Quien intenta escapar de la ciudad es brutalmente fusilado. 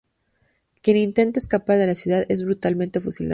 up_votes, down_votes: 0, 2